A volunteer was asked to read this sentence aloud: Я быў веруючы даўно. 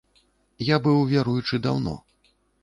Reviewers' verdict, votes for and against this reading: accepted, 2, 0